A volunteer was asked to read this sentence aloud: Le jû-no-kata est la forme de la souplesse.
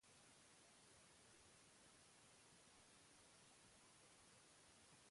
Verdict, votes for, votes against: rejected, 0, 2